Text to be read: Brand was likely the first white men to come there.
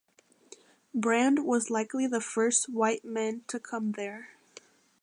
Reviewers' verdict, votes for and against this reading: accepted, 2, 0